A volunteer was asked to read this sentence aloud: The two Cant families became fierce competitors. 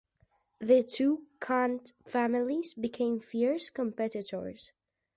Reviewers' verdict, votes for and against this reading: accepted, 4, 0